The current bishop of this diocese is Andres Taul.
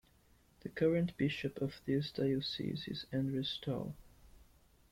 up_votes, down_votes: 2, 0